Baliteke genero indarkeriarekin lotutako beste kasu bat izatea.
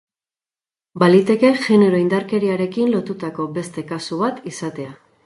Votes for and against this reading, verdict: 6, 0, accepted